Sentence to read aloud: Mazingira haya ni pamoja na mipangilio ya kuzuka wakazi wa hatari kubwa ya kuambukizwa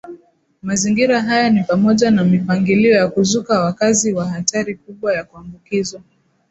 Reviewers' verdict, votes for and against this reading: accepted, 2, 0